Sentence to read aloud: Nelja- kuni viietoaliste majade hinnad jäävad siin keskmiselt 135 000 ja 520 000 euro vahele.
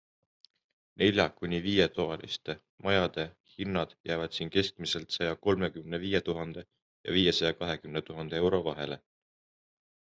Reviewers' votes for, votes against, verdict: 0, 2, rejected